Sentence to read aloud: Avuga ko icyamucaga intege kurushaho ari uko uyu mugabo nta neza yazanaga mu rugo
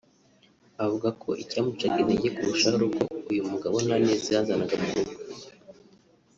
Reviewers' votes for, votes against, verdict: 2, 0, accepted